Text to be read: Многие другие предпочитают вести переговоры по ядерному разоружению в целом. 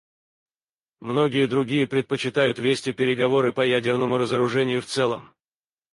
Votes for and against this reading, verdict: 2, 4, rejected